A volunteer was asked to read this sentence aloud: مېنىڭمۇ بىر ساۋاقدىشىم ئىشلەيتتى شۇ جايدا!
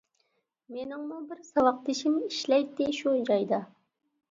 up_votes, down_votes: 1, 2